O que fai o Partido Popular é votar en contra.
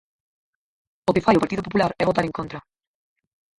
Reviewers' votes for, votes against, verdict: 0, 4, rejected